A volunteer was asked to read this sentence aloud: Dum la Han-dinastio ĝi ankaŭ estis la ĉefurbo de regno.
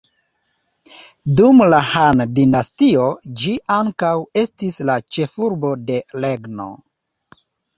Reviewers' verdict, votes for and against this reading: rejected, 1, 2